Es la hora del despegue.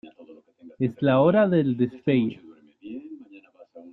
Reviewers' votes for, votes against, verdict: 2, 0, accepted